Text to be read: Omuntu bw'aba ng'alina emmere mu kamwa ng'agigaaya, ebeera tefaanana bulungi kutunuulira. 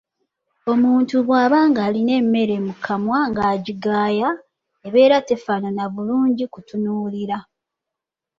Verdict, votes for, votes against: accepted, 2, 1